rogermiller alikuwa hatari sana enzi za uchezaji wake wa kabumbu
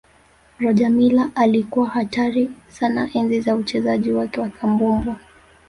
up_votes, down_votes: 2, 1